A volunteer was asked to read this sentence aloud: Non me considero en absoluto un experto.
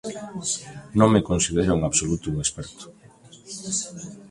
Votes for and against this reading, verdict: 2, 1, accepted